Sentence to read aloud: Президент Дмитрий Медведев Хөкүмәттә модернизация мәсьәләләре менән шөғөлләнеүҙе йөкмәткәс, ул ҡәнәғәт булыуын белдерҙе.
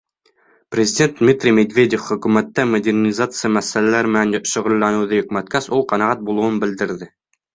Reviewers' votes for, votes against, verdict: 3, 0, accepted